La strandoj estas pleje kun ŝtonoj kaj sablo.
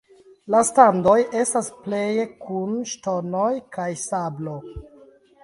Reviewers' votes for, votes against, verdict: 0, 2, rejected